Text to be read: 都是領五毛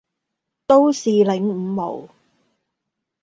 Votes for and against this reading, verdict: 0, 2, rejected